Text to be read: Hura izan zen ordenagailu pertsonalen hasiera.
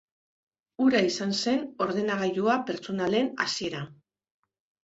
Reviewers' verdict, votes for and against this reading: rejected, 1, 2